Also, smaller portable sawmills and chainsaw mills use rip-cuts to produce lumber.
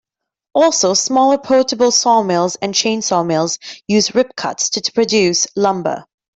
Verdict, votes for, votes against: accepted, 2, 0